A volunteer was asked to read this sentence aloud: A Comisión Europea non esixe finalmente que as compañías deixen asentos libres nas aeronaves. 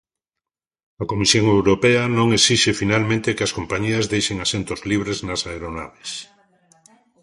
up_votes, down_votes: 1, 2